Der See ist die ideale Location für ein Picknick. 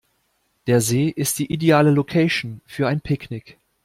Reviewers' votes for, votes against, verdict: 2, 0, accepted